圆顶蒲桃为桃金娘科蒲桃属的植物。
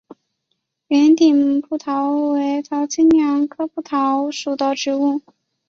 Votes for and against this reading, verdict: 0, 2, rejected